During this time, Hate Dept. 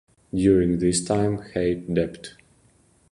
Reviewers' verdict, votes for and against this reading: rejected, 0, 2